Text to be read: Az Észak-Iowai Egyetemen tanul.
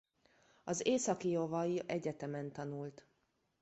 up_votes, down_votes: 0, 2